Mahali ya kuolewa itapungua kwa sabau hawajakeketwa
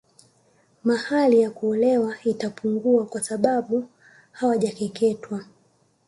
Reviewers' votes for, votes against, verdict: 0, 2, rejected